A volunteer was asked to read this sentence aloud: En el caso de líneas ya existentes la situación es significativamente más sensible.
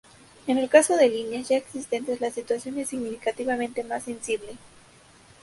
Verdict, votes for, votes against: rejected, 0, 2